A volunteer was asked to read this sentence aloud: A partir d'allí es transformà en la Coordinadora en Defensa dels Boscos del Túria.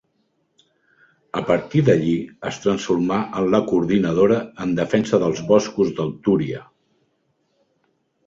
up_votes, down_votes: 0, 2